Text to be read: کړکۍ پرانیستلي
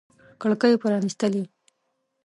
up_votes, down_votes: 2, 1